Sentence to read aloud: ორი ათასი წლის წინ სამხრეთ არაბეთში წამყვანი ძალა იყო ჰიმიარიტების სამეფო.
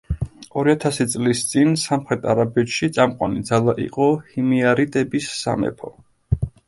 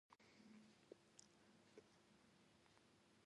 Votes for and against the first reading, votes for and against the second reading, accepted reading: 2, 0, 1, 2, first